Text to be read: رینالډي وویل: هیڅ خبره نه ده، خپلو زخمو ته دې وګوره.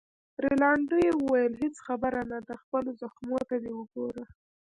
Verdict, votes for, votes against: accepted, 2, 1